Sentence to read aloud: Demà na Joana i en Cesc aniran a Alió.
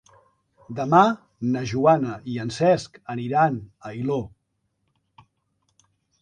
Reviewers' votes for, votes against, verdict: 1, 2, rejected